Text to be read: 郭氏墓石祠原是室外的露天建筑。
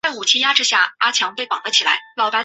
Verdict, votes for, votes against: rejected, 1, 3